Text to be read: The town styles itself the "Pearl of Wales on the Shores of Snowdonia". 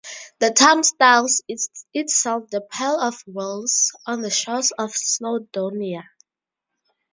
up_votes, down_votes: 2, 2